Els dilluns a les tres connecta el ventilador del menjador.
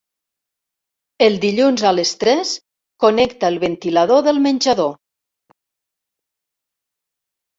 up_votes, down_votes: 0, 2